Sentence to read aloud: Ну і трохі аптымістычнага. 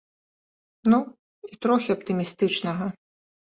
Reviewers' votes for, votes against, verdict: 1, 2, rejected